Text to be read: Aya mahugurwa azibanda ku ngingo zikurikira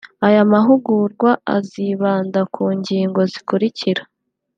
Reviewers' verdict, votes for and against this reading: accepted, 2, 0